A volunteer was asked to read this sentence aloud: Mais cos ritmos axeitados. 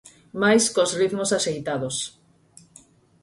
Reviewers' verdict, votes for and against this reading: accepted, 6, 0